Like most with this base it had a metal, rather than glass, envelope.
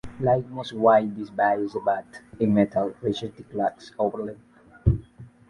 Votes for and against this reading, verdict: 1, 3, rejected